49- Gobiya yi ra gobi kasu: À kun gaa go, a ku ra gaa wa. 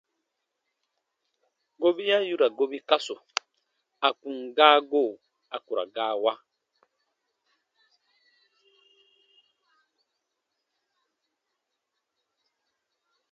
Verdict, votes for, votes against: rejected, 0, 2